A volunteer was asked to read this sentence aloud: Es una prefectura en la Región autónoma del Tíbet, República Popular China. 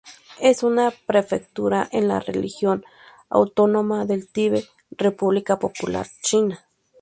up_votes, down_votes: 0, 2